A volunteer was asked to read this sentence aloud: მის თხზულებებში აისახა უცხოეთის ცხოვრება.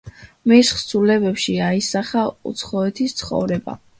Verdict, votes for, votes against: accepted, 2, 0